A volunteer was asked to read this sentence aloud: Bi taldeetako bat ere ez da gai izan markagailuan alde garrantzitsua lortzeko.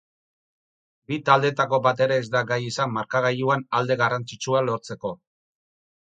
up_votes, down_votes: 4, 4